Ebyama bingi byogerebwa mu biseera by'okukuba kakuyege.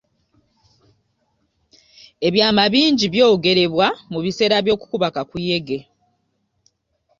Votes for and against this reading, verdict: 2, 0, accepted